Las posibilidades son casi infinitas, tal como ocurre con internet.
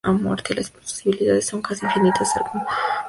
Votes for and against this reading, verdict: 0, 2, rejected